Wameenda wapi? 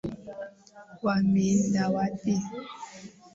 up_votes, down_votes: 2, 0